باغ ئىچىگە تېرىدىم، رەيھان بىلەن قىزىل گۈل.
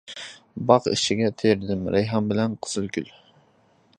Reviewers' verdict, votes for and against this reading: accepted, 2, 0